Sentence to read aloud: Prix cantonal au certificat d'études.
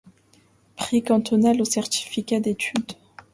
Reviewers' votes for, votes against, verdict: 2, 0, accepted